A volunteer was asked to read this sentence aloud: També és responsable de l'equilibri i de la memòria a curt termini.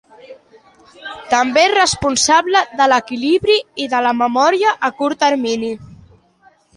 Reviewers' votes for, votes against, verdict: 2, 0, accepted